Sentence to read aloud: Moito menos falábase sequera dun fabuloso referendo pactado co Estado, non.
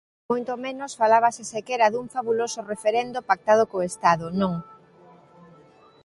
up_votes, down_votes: 2, 0